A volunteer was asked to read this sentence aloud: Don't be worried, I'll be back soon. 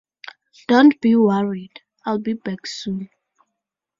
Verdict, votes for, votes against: accepted, 2, 0